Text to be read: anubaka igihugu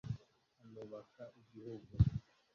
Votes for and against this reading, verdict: 0, 2, rejected